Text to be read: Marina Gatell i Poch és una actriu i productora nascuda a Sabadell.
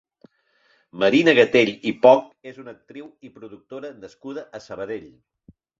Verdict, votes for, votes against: accepted, 2, 0